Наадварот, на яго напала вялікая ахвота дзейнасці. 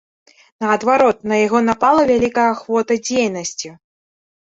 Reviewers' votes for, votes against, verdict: 2, 0, accepted